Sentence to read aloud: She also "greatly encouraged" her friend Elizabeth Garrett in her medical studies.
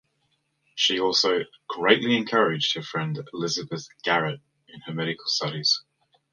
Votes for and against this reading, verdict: 2, 0, accepted